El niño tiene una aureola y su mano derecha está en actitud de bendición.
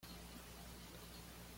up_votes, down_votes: 1, 2